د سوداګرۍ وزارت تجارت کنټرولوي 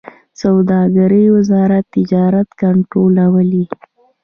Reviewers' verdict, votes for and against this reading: accepted, 2, 0